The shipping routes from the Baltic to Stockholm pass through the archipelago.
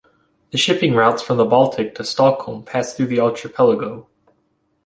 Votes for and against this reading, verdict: 1, 2, rejected